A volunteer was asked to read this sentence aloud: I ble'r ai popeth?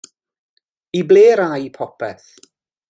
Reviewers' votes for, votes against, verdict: 2, 0, accepted